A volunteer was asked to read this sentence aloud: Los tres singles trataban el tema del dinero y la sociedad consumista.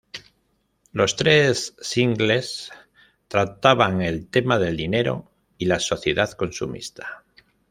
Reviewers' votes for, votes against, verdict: 2, 0, accepted